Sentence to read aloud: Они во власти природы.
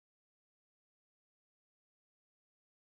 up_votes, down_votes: 0, 14